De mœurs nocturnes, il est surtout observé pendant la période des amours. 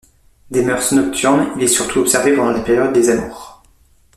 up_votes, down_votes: 1, 2